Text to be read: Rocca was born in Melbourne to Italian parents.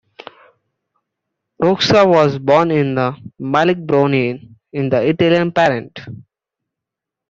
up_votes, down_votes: 0, 2